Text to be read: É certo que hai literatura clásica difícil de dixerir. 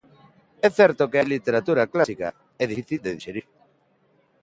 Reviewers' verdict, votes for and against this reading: rejected, 1, 2